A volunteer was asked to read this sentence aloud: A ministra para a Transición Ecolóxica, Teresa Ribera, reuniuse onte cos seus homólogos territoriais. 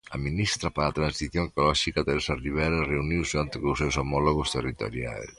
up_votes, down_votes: 2, 1